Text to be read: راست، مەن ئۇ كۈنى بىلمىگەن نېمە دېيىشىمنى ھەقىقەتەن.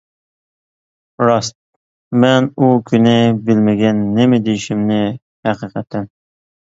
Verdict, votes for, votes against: accepted, 2, 0